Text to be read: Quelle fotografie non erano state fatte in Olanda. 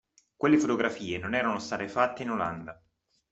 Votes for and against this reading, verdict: 2, 1, accepted